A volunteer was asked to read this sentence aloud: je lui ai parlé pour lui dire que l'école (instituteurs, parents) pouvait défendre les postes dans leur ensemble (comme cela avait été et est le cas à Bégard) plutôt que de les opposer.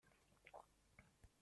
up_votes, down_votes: 0, 2